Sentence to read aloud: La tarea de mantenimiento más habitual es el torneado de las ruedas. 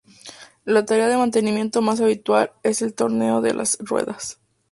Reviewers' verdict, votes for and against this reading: rejected, 0, 2